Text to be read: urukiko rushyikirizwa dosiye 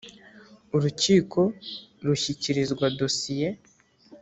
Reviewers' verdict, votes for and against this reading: accepted, 2, 0